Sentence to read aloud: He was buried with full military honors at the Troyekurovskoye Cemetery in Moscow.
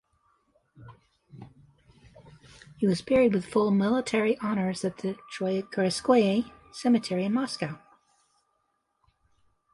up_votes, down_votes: 2, 0